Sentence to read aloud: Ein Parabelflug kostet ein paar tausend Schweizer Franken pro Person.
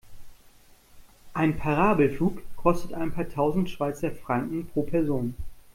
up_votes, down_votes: 2, 0